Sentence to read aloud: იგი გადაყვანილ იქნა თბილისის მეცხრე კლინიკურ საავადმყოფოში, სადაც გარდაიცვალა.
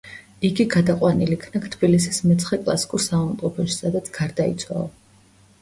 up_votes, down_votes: 0, 2